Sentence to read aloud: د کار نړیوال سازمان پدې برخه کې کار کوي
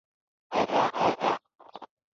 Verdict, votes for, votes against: rejected, 0, 3